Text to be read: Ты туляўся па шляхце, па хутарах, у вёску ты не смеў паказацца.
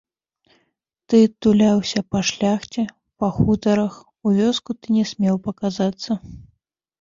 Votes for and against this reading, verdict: 1, 2, rejected